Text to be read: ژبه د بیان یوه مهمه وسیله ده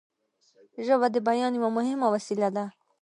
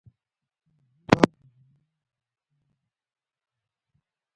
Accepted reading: first